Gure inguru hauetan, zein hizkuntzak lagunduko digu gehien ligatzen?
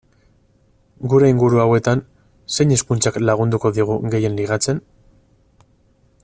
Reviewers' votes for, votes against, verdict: 4, 0, accepted